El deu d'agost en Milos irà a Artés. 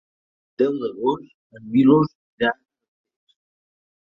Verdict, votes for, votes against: rejected, 0, 2